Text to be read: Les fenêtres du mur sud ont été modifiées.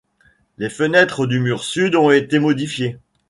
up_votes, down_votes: 2, 0